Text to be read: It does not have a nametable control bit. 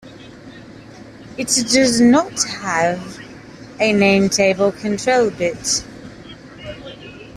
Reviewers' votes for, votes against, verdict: 0, 2, rejected